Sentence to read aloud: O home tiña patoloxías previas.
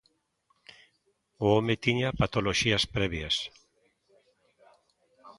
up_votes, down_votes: 2, 0